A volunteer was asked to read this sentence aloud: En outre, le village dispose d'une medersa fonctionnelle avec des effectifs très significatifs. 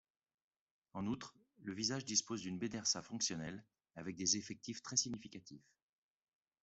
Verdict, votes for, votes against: rejected, 0, 2